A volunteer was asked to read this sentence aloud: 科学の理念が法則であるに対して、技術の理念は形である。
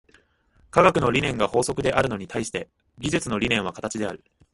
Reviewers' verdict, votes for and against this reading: rejected, 0, 2